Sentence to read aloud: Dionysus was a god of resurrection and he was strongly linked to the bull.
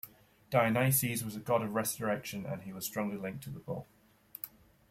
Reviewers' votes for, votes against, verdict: 2, 0, accepted